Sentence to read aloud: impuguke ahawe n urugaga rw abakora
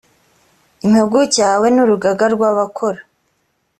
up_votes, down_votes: 4, 0